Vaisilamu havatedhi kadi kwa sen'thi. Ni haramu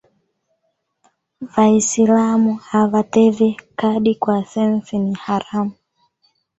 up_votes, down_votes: 2, 1